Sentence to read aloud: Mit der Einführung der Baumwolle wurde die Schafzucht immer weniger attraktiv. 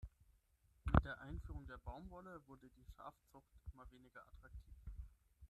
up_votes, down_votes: 3, 6